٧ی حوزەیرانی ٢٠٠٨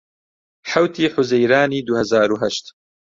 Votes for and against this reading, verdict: 0, 2, rejected